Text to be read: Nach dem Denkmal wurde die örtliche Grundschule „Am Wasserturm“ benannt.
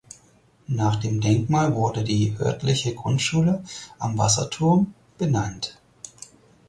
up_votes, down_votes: 4, 0